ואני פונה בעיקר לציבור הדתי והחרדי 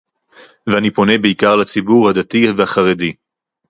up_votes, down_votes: 2, 2